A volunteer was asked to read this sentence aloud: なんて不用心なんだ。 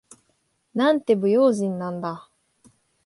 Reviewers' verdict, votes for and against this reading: accepted, 2, 0